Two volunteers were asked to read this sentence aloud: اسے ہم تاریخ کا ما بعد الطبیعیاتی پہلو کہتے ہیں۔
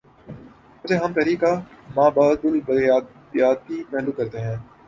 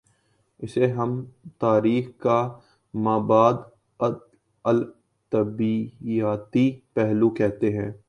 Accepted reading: second